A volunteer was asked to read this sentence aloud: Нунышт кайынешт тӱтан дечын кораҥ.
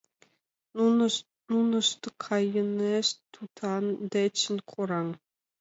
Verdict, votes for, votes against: accepted, 3, 2